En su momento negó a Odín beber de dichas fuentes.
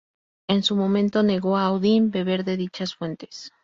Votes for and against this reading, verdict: 4, 0, accepted